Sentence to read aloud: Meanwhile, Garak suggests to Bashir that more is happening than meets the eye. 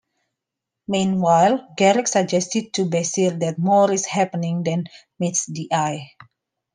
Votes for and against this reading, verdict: 1, 2, rejected